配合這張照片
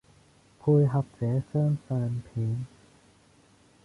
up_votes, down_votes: 0, 2